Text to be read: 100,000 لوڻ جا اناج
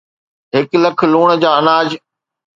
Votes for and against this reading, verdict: 0, 2, rejected